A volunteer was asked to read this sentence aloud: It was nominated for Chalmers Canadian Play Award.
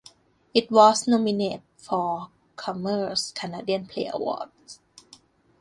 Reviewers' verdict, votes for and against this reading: rejected, 0, 2